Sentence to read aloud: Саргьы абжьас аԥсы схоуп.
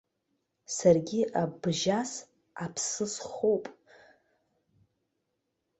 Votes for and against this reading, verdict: 2, 0, accepted